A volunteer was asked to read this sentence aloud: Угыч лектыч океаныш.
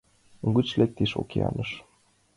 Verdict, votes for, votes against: accepted, 4, 0